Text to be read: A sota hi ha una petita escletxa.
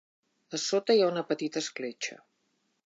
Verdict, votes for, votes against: accepted, 2, 0